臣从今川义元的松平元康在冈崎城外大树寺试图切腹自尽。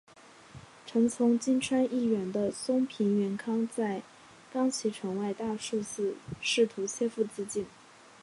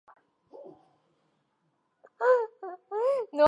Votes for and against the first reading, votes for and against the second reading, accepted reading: 2, 0, 0, 7, first